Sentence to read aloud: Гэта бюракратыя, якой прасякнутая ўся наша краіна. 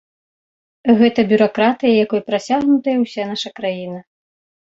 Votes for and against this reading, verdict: 2, 0, accepted